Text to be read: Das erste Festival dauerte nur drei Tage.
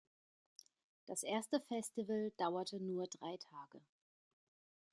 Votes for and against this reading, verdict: 2, 0, accepted